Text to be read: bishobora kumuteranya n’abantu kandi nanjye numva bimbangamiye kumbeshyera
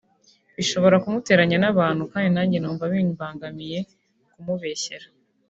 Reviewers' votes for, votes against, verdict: 0, 2, rejected